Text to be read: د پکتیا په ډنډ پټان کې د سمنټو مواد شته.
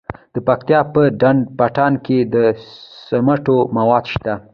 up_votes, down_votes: 2, 0